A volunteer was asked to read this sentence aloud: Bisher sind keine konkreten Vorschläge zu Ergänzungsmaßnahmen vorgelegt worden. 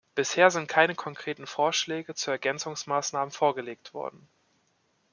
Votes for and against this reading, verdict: 2, 0, accepted